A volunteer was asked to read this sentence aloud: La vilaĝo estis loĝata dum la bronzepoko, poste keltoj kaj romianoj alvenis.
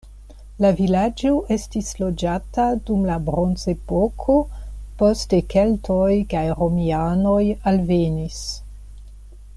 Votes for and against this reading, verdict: 2, 0, accepted